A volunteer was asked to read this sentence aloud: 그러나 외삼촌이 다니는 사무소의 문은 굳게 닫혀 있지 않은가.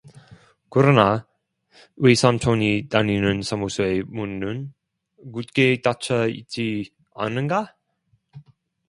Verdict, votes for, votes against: rejected, 0, 2